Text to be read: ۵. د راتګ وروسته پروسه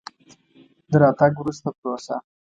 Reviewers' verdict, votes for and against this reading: rejected, 0, 2